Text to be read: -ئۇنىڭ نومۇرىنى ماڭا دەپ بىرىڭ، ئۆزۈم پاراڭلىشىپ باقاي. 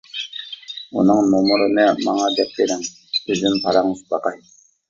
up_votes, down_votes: 1, 2